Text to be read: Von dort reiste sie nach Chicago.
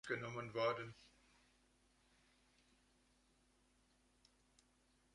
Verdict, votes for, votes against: rejected, 0, 2